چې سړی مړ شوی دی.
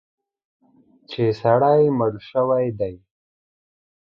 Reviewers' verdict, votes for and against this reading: accepted, 2, 0